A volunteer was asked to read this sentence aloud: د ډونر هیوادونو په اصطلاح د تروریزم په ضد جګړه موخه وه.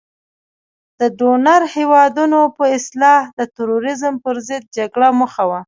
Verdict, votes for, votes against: accepted, 3, 0